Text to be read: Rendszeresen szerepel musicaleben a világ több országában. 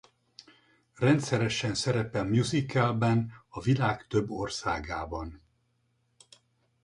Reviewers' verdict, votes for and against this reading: rejected, 2, 2